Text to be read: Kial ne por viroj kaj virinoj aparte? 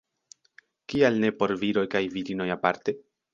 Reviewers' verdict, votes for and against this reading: accepted, 2, 0